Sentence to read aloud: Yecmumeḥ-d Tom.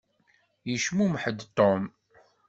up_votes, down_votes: 2, 0